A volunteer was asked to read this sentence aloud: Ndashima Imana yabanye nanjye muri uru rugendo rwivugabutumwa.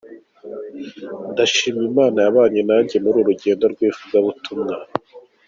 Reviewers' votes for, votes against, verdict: 2, 0, accepted